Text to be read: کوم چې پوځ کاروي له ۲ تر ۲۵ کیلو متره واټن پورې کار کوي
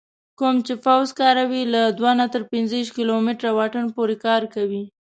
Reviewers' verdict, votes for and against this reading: rejected, 0, 2